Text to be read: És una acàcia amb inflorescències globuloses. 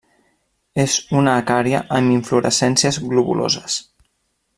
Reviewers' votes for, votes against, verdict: 0, 2, rejected